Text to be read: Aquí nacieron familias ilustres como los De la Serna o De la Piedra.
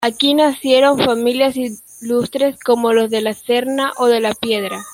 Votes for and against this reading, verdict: 2, 0, accepted